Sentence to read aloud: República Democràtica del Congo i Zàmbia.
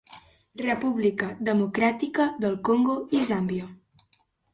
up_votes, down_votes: 2, 0